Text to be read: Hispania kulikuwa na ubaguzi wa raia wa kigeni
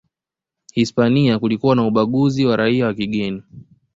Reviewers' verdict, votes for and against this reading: accepted, 2, 0